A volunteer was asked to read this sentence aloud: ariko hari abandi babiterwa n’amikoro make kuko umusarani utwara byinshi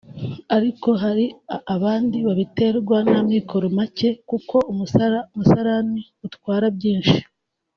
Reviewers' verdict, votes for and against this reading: rejected, 0, 2